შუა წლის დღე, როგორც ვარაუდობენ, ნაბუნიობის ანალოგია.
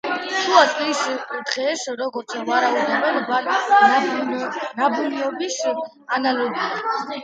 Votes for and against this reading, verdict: 0, 2, rejected